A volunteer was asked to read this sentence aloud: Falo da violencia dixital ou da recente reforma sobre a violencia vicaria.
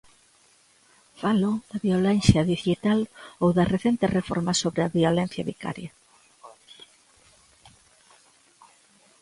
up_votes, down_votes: 2, 1